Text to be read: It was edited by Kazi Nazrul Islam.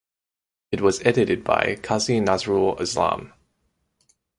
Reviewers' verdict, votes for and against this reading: accepted, 4, 0